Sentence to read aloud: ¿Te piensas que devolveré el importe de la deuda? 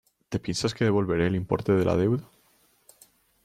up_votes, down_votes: 2, 0